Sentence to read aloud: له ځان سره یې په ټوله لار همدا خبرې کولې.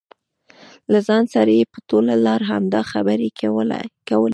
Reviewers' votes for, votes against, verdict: 2, 0, accepted